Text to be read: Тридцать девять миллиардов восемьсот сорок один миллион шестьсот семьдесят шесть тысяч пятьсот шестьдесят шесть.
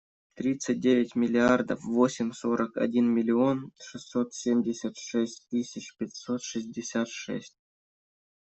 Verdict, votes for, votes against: rejected, 0, 2